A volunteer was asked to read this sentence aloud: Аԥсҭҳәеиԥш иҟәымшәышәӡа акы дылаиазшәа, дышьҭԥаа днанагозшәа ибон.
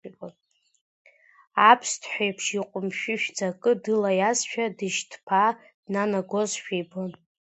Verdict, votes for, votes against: accepted, 2, 1